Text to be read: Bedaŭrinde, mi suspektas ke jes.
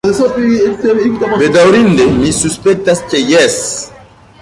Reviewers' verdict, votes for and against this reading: rejected, 0, 2